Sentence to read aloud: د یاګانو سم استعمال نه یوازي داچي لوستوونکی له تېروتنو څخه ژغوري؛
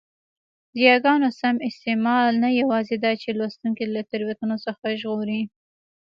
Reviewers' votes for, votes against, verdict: 2, 0, accepted